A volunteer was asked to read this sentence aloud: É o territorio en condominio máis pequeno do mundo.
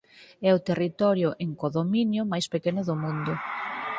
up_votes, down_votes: 0, 4